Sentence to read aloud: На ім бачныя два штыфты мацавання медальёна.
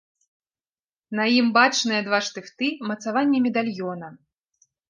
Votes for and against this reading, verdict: 2, 0, accepted